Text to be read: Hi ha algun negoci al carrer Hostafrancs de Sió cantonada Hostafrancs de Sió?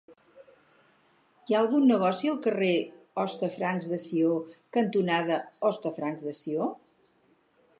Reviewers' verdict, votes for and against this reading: rejected, 2, 2